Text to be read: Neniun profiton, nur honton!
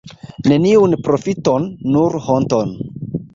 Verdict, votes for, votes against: rejected, 0, 2